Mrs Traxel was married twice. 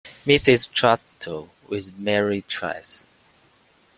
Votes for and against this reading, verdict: 2, 0, accepted